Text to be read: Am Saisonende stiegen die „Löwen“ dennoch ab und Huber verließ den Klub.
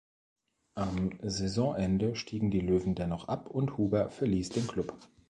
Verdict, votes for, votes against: accepted, 2, 0